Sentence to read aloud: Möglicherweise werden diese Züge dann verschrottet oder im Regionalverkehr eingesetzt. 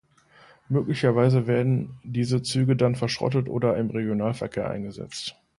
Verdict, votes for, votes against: accepted, 2, 0